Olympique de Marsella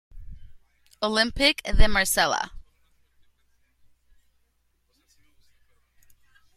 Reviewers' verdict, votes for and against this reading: rejected, 1, 2